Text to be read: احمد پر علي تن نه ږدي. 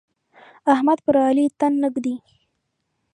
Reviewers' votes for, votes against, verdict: 2, 0, accepted